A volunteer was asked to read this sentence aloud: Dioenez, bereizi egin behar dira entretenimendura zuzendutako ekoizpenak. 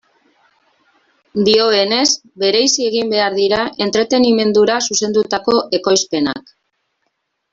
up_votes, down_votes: 2, 1